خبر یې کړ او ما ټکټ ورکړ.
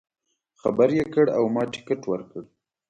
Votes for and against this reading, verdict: 2, 0, accepted